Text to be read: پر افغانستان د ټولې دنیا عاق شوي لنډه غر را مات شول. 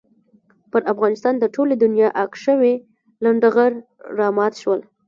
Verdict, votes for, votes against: rejected, 0, 2